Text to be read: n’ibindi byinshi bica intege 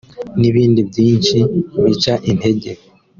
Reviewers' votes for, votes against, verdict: 2, 0, accepted